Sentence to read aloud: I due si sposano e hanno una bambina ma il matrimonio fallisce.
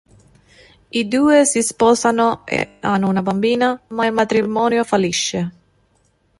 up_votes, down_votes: 2, 0